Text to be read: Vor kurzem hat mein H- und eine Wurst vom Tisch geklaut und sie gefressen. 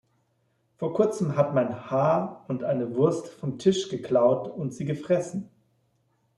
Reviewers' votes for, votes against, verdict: 3, 1, accepted